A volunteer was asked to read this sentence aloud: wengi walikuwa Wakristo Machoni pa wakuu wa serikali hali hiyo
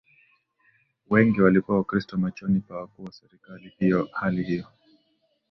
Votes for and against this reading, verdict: 1, 2, rejected